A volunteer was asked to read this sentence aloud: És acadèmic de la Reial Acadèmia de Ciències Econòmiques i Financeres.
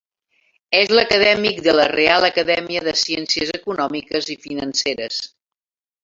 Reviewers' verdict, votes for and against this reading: rejected, 1, 2